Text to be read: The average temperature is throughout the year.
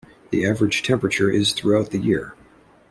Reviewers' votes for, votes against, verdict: 2, 0, accepted